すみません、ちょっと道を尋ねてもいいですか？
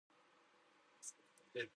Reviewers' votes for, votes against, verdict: 1, 2, rejected